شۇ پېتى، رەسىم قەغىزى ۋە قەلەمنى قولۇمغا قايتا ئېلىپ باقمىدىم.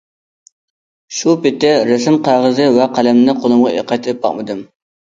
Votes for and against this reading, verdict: 1, 2, rejected